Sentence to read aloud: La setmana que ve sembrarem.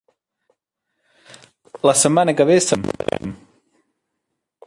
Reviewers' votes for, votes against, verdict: 0, 3, rejected